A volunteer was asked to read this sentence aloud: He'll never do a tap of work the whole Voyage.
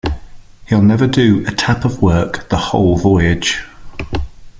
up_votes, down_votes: 2, 0